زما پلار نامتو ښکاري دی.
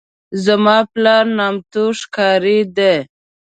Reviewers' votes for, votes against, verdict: 2, 0, accepted